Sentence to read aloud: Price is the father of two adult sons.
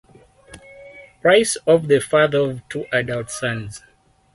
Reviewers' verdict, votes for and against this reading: rejected, 0, 4